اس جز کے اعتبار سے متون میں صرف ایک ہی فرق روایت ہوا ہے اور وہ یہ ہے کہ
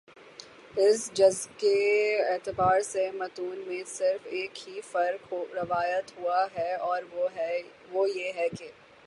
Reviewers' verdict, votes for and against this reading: rejected, 3, 3